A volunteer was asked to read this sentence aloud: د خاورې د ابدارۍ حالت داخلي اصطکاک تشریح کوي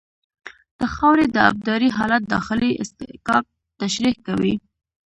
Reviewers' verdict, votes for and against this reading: accepted, 2, 1